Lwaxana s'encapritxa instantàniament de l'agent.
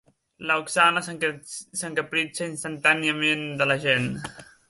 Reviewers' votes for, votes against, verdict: 0, 2, rejected